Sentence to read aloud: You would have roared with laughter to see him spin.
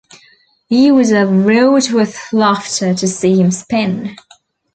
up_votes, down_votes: 0, 2